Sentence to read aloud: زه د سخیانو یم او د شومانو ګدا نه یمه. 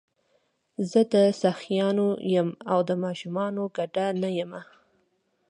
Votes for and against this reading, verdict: 2, 1, accepted